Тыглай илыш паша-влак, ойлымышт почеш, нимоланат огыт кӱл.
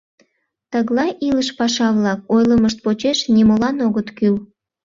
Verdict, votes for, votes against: rejected, 0, 2